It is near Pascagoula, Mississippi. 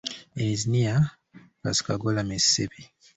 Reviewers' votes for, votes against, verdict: 2, 1, accepted